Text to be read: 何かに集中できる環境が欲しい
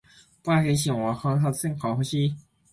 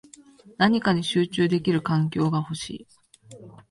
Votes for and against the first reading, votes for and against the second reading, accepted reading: 1, 2, 2, 0, second